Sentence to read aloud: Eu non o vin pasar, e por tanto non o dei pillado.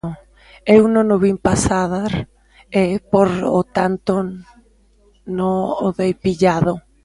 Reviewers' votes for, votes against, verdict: 0, 2, rejected